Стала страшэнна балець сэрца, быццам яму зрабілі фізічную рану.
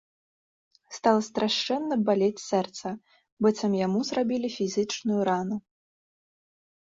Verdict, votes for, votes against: accepted, 2, 0